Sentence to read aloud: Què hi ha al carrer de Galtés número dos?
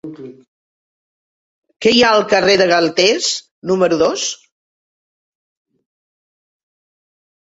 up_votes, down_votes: 3, 0